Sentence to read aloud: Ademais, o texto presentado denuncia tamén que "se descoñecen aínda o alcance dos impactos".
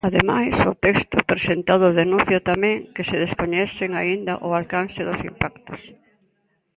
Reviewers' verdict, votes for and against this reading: rejected, 1, 2